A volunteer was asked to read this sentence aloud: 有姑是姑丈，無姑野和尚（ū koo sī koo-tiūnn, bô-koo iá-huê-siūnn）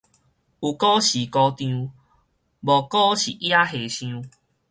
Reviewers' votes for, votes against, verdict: 2, 2, rejected